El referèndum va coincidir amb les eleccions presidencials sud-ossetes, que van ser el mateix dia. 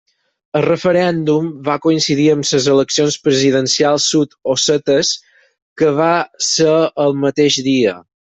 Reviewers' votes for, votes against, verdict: 0, 4, rejected